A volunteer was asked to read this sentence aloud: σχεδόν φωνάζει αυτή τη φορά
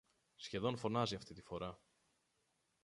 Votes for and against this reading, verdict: 0, 2, rejected